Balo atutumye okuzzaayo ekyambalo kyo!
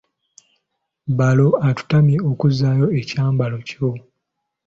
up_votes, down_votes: 2, 1